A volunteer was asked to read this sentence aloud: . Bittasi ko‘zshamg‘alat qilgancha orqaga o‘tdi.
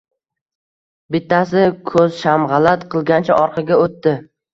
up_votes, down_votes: 1, 2